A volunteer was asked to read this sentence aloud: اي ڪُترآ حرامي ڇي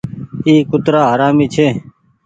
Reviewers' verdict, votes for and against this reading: accepted, 2, 0